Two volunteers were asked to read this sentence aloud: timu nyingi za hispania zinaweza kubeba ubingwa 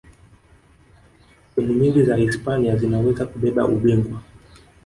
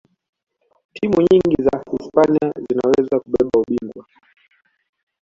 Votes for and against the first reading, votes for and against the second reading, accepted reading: 2, 0, 1, 2, first